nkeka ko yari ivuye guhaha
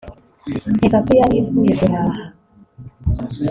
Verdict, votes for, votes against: accepted, 3, 0